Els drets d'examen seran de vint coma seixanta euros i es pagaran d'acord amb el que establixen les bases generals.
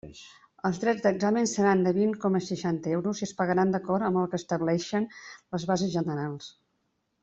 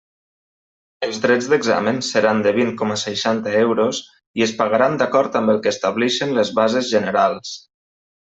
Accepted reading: second